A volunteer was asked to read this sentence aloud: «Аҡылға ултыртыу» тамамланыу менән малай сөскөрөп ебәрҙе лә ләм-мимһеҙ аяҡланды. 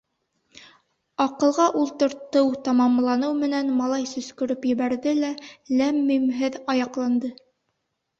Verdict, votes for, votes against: accepted, 2, 0